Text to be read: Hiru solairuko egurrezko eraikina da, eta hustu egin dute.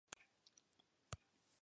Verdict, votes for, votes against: rejected, 0, 3